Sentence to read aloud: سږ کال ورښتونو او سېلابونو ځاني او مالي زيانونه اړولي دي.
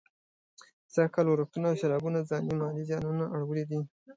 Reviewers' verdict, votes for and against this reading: rejected, 0, 2